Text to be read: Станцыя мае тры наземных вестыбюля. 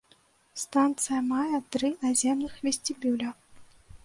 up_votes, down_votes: 1, 2